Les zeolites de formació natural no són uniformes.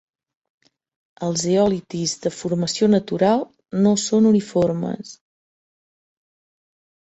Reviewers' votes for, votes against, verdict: 0, 2, rejected